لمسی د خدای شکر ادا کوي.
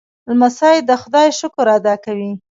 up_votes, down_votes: 1, 2